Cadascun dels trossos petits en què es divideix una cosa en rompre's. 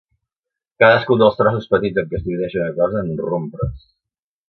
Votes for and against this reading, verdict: 0, 2, rejected